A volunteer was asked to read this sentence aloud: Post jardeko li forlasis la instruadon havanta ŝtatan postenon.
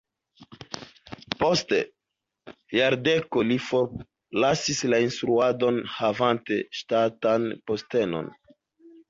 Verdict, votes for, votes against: rejected, 0, 3